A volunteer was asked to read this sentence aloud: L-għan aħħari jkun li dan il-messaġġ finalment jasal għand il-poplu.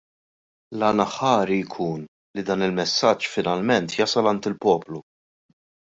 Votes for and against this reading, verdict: 2, 0, accepted